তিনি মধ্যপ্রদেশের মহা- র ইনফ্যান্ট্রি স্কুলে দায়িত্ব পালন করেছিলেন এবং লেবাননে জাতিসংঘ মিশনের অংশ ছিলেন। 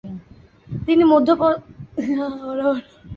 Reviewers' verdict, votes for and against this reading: rejected, 0, 2